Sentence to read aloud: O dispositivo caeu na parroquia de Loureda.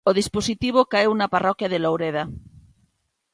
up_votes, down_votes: 2, 0